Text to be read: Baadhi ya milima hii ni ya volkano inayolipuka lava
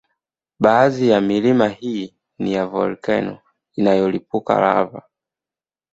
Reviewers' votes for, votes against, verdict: 2, 0, accepted